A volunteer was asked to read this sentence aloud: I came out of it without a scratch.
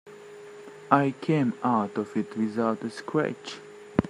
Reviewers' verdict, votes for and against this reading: rejected, 0, 2